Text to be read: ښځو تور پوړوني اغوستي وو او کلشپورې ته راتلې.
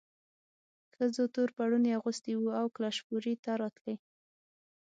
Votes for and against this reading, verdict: 6, 0, accepted